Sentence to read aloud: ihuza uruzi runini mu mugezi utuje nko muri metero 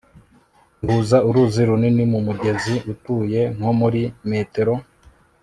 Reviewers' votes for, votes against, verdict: 2, 0, accepted